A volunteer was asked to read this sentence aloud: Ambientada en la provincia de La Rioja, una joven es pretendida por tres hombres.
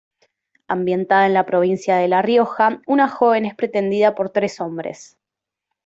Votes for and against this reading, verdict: 2, 0, accepted